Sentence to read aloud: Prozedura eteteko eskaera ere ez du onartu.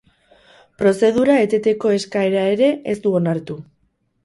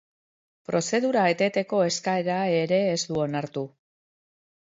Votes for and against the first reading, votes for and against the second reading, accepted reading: 0, 2, 2, 0, second